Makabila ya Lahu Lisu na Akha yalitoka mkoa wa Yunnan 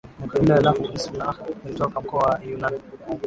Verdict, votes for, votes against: rejected, 0, 2